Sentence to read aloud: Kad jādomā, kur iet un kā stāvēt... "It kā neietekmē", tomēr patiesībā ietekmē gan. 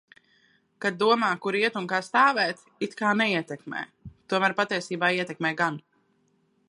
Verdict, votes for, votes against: rejected, 1, 2